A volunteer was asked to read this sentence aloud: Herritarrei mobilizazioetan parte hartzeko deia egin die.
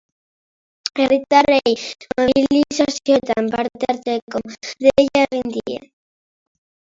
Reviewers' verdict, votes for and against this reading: rejected, 1, 2